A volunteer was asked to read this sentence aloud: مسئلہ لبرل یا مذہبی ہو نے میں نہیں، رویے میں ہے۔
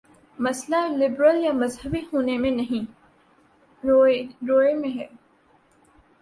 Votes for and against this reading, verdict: 0, 5, rejected